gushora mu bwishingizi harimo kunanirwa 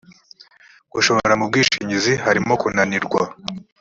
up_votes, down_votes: 2, 0